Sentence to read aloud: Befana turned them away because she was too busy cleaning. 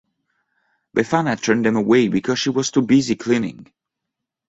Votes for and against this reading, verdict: 2, 1, accepted